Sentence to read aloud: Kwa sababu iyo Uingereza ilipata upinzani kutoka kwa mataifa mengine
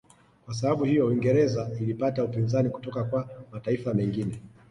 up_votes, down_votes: 1, 2